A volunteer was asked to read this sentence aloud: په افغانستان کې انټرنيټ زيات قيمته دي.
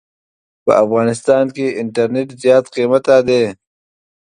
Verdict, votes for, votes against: rejected, 1, 2